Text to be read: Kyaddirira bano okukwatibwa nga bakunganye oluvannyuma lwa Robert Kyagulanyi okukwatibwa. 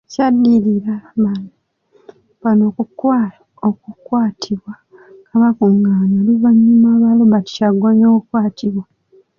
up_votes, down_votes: 0, 2